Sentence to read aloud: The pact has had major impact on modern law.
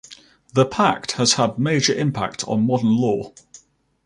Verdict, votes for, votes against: accepted, 2, 0